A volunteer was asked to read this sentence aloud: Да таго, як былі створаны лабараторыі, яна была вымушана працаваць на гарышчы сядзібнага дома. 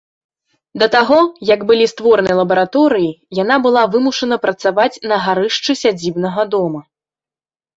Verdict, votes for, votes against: accepted, 2, 0